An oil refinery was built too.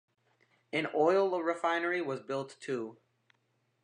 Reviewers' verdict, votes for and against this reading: accepted, 2, 0